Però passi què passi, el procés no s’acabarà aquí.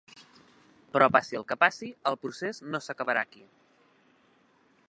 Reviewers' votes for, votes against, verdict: 1, 3, rejected